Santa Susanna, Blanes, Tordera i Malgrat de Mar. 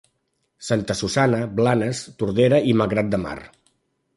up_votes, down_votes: 2, 0